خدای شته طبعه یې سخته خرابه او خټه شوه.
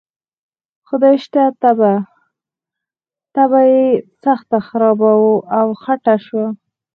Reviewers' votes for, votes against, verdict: 0, 4, rejected